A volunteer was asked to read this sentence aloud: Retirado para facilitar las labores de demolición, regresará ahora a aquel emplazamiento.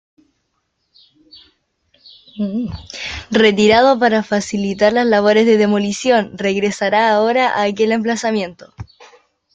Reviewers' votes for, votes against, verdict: 2, 0, accepted